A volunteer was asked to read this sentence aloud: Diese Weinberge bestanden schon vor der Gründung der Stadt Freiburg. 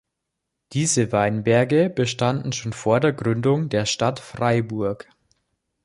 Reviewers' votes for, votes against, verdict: 4, 0, accepted